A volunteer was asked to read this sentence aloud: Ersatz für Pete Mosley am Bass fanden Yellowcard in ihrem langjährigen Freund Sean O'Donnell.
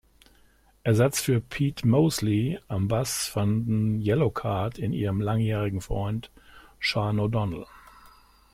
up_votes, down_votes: 2, 0